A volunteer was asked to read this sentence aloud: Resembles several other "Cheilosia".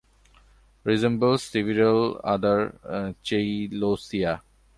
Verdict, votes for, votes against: accepted, 2, 0